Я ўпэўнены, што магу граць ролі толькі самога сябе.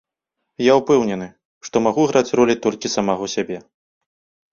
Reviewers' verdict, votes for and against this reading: rejected, 1, 2